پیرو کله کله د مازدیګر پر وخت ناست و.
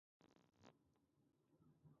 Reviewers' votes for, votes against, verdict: 1, 2, rejected